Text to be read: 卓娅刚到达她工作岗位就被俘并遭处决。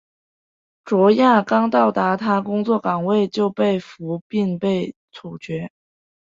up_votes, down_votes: 2, 3